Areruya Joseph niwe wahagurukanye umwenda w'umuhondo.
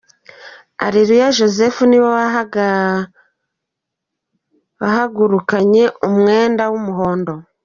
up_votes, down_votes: 0, 2